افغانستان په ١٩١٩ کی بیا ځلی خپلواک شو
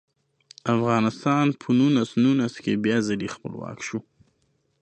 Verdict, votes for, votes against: rejected, 0, 2